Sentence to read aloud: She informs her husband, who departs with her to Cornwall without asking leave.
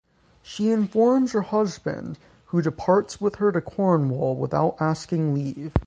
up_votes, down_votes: 3, 0